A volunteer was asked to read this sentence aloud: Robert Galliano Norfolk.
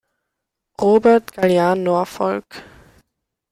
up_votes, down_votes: 2, 0